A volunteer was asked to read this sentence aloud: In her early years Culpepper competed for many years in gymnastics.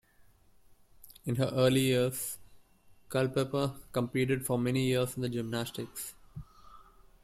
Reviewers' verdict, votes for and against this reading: rejected, 0, 2